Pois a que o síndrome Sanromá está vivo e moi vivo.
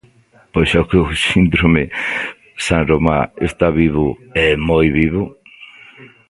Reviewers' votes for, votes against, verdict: 0, 2, rejected